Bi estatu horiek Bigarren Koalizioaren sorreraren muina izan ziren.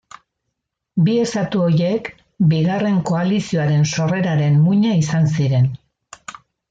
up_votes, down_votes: 2, 0